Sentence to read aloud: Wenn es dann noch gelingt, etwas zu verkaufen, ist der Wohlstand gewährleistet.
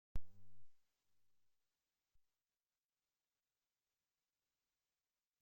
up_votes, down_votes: 0, 2